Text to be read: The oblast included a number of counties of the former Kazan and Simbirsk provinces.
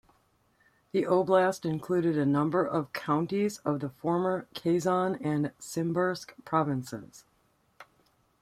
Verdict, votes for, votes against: accepted, 2, 1